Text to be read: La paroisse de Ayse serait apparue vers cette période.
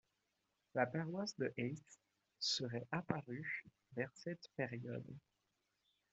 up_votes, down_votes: 0, 2